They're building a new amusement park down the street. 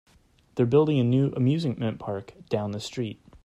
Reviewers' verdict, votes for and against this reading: rejected, 0, 2